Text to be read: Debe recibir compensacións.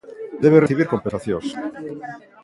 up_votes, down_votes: 1, 2